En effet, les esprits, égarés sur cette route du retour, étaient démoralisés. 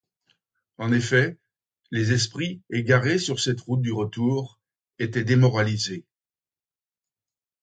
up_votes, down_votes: 2, 0